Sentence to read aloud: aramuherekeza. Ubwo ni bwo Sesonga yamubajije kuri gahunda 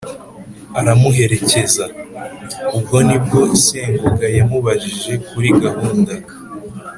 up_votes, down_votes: 2, 0